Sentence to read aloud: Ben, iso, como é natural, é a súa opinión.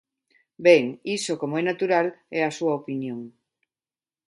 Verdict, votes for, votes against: accepted, 2, 0